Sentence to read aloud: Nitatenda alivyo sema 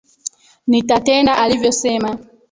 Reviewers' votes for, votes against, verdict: 0, 2, rejected